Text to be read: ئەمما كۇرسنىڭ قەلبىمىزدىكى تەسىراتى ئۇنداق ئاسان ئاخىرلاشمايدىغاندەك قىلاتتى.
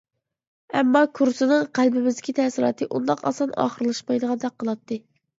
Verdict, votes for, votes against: rejected, 0, 2